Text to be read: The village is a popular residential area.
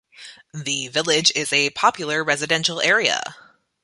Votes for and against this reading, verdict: 8, 0, accepted